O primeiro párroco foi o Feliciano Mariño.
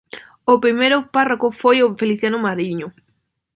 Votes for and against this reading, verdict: 2, 0, accepted